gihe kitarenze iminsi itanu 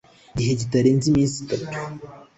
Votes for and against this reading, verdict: 2, 0, accepted